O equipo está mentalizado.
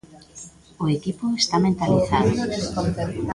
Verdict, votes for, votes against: rejected, 0, 2